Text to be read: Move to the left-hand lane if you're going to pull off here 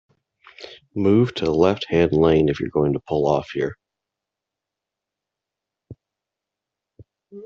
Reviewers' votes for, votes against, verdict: 0, 2, rejected